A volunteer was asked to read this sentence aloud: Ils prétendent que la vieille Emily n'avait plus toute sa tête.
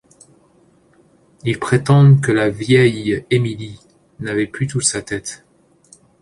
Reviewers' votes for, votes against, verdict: 2, 0, accepted